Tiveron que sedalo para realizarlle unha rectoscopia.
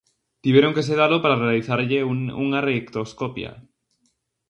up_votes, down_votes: 0, 2